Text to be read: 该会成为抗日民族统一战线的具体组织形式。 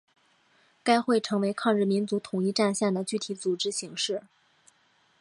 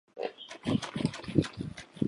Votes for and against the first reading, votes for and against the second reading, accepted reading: 2, 0, 3, 5, first